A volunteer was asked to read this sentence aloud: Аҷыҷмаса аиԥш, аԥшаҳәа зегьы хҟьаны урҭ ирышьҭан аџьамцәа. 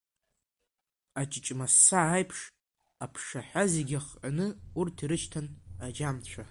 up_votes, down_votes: 1, 2